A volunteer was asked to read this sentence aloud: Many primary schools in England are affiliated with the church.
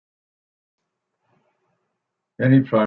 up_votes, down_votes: 0, 2